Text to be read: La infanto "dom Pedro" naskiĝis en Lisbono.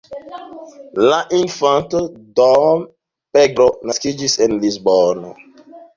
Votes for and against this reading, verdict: 2, 3, rejected